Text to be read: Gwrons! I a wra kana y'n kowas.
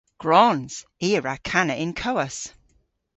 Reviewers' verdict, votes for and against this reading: accepted, 2, 0